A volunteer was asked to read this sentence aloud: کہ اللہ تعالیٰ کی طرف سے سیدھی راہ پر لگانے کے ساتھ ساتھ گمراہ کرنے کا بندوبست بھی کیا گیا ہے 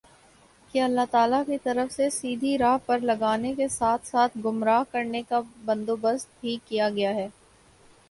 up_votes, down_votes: 3, 0